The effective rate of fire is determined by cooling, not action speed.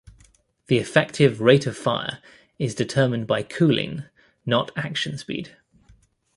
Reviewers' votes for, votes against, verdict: 2, 0, accepted